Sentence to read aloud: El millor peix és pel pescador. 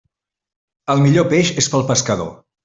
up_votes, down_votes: 3, 0